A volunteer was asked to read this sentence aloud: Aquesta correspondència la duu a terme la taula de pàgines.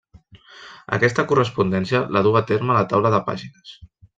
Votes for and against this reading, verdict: 1, 2, rejected